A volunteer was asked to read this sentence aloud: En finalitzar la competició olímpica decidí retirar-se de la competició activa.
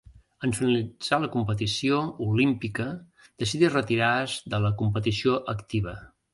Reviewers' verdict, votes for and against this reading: rejected, 1, 2